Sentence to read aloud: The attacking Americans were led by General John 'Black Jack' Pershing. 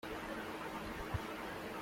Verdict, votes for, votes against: rejected, 0, 2